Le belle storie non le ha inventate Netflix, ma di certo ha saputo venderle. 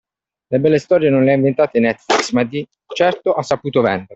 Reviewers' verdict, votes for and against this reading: accepted, 2, 1